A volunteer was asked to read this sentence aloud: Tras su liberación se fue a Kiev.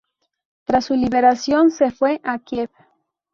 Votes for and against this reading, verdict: 0, 2, rejected